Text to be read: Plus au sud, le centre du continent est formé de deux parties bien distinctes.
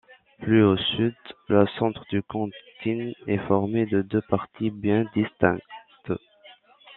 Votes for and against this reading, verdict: 0, 2, rejected